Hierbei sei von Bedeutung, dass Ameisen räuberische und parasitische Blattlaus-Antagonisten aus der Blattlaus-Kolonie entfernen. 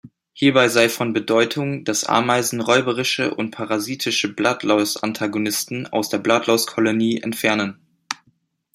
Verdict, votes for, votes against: accepted, 2, 0